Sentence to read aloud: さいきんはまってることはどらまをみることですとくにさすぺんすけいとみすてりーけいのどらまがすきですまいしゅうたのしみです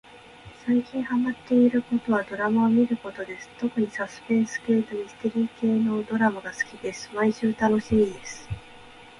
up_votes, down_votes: 2, 0